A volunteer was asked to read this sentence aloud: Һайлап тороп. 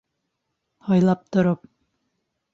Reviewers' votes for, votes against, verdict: 1, 2, rejected